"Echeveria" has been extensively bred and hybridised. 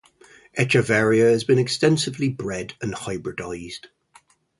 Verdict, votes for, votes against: accepted, 4, 0